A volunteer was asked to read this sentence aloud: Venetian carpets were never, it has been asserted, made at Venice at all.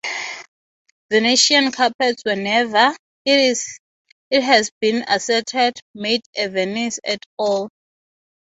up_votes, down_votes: 0, 3